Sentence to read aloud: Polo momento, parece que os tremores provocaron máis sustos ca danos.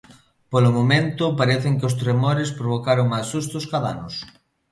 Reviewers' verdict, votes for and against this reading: rejected, 1, 2